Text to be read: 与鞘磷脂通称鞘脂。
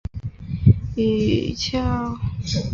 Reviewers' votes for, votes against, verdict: 2, 8, rejected